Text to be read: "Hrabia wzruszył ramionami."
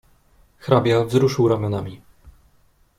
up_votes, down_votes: 2, 0